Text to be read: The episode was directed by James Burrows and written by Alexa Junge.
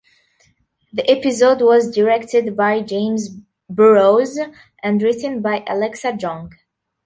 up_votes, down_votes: 0, 2